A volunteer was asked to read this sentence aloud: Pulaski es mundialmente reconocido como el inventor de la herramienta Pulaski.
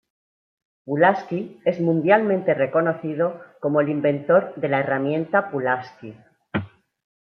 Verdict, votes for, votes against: accepted, 2, 0